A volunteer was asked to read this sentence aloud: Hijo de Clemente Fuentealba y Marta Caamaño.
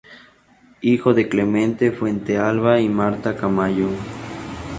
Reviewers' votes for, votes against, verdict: 0, 2, rejected